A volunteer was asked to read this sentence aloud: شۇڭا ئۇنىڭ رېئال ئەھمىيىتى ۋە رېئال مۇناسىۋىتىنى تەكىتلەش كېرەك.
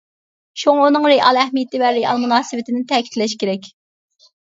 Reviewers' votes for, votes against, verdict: 2, 0, accepted